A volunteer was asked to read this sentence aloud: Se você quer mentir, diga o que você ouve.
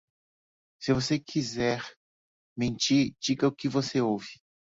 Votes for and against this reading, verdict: 0, 2, rejected